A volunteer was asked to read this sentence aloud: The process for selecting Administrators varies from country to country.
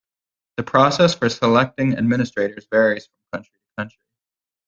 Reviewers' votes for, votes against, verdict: 2, 0, accepted